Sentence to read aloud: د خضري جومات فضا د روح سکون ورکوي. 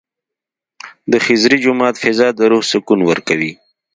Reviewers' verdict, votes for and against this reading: accepted, 2, 1